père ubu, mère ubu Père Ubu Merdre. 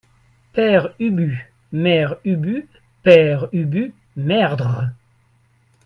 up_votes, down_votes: 2, 0